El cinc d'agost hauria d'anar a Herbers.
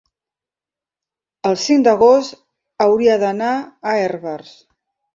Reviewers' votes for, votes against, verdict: 4, 0, accepted